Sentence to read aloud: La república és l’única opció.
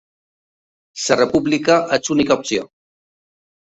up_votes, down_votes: 0, 2